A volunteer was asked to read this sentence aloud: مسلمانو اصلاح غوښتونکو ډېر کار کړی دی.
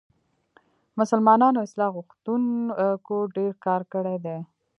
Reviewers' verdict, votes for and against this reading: accepted, 2, 0